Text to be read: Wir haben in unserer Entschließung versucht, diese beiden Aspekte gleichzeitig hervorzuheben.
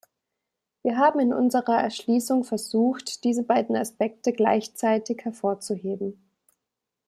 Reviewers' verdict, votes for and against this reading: rejected, 1, 2